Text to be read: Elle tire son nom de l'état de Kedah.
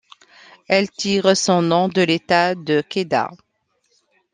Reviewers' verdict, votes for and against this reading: accepted, 2, 0